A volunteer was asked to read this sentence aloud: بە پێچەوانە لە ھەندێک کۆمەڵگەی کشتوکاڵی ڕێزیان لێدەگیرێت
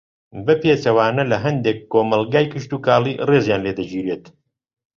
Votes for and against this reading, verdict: 2, 0, accepted